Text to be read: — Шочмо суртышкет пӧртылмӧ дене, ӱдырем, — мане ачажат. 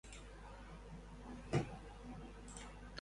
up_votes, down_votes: 0, 2